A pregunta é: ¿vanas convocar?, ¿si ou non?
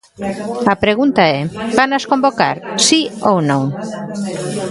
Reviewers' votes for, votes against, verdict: 0, 2, rejected